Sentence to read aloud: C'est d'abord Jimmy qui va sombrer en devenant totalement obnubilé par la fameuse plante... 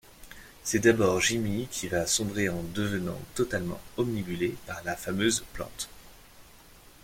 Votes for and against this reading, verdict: 1, 2, rejected